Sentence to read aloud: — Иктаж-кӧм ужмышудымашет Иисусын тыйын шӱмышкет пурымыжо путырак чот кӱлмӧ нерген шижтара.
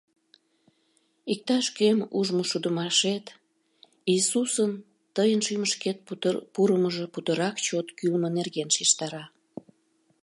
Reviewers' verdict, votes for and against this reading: rejected, 0, 2